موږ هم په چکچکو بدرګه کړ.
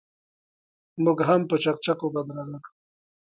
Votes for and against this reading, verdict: 1, 3, rejected